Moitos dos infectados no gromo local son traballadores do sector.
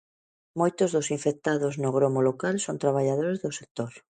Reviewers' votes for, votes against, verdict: 2, 0, accepted